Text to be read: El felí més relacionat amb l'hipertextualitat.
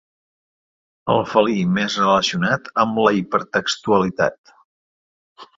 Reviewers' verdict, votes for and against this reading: accepted, 2, 0